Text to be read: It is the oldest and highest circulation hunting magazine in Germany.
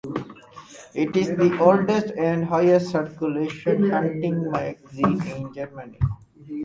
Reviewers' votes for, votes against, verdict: 2, 4, rejected